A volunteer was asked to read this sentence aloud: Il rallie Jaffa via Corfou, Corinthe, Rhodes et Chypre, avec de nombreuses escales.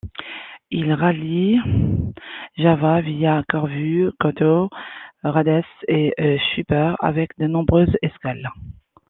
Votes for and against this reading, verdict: 0, 2, rejected